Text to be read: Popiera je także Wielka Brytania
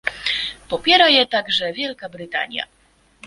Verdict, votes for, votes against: accepted, 2, 0